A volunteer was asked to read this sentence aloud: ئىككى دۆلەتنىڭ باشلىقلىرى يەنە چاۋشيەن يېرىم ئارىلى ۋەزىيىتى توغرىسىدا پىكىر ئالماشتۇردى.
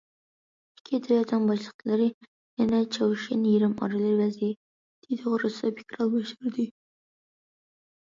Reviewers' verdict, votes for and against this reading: rejected, 0, 2